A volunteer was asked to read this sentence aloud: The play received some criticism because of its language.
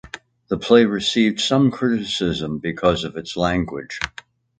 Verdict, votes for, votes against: accepted, 2, 1